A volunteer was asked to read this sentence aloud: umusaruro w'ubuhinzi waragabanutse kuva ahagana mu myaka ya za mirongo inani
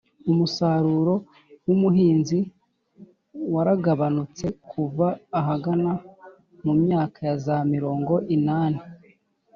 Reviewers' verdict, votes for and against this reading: accepted, 2, 0